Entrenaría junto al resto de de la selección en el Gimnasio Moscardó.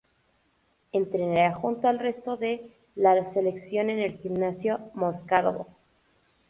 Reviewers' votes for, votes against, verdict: 0, 4, rejected